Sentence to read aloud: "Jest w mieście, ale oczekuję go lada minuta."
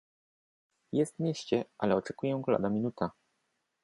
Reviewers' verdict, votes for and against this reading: accepted, 2, 0